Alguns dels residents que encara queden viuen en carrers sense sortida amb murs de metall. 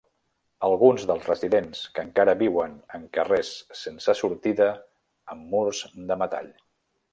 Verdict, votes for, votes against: rejected, 0, 2